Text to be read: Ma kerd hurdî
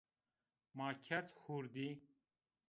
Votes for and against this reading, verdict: 2, 0, accepted